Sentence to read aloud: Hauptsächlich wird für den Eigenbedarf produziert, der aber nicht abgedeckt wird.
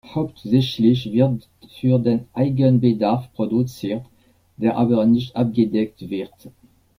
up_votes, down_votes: 2, 0